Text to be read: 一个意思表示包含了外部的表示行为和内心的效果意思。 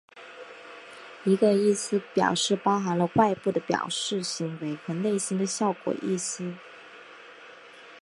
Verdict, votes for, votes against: accepted, 2, 0